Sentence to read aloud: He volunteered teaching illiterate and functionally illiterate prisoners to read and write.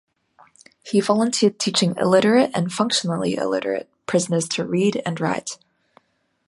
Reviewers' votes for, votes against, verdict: 3, 0, accepted